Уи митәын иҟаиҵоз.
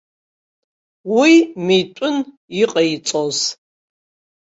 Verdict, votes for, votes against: accepted, 2, 0